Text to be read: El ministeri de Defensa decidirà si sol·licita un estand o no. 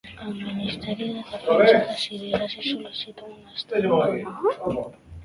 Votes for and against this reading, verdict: 0, 2, rejected